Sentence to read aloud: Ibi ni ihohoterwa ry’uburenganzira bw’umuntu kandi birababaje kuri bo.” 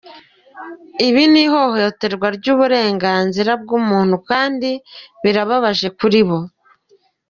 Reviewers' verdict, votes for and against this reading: accepted, 3, 0